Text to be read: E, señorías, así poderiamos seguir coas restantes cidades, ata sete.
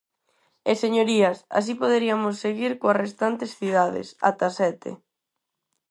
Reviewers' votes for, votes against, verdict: 2, 4, rejected